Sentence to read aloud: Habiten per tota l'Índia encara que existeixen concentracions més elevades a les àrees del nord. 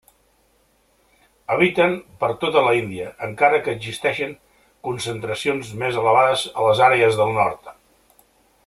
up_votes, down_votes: 0, 2